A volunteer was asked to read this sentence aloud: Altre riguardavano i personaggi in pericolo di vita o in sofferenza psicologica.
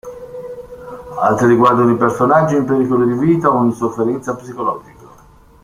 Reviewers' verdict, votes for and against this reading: rejected, 0, 2